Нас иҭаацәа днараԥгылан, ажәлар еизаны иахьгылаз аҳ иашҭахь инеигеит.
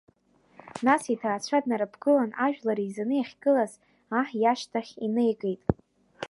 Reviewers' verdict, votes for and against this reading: rejected, 1, 2